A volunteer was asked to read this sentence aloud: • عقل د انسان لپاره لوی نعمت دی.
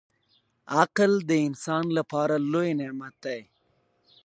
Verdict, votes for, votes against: accepted, 2, 1